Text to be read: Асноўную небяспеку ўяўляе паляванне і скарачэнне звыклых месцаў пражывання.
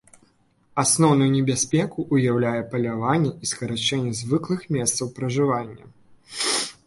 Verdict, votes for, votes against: accepted, 2, 0